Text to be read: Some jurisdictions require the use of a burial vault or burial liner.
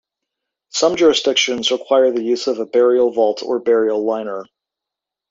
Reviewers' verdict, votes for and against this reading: accepted, 2, 0